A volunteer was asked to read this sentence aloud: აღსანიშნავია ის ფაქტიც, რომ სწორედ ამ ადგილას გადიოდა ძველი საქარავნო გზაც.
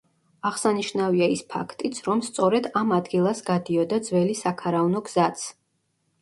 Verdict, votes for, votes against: rejected, 1, 2